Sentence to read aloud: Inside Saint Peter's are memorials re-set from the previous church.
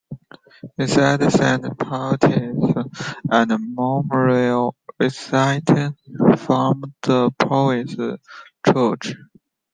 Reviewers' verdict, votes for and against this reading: rejected, 1, 3